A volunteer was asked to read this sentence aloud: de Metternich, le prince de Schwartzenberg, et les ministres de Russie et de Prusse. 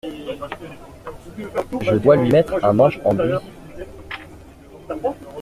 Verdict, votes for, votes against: rejected, 0, 2